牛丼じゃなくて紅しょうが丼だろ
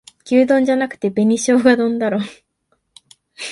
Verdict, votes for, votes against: accepted, 7, 0